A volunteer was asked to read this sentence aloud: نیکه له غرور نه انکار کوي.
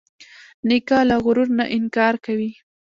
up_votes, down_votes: 1, 2